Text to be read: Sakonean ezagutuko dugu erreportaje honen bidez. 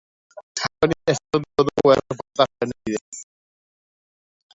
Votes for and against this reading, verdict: 0, 3, rejected